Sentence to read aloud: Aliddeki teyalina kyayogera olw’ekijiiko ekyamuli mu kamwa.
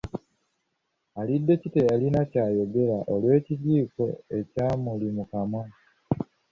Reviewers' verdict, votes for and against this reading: rejected, 1, 2